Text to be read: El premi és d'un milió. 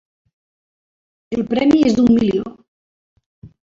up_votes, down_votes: 2, 0